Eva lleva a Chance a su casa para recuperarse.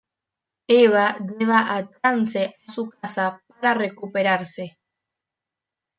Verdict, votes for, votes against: rejected, 0, 2